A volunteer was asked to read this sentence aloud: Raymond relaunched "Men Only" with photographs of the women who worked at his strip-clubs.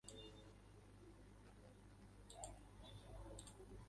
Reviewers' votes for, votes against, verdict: 0, 2, rejected